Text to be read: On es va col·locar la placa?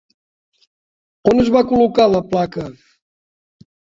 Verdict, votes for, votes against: accepted, 3, 0